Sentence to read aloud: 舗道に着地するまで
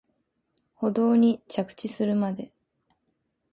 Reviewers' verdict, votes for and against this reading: accepted, 2, 0